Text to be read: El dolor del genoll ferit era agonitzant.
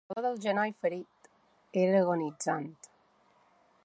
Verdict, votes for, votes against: rejected, 1, 2